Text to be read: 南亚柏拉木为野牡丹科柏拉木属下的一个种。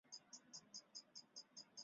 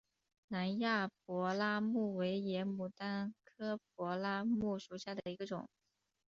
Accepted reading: second